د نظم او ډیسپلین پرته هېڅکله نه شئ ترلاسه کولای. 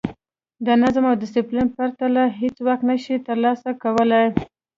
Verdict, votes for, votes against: rejected, 0, 2